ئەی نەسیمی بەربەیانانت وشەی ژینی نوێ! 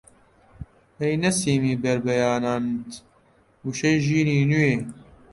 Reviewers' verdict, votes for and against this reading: accepted, 2, 0